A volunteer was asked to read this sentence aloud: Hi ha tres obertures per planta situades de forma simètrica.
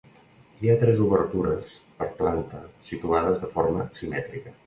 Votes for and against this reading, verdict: 2, 0, accepted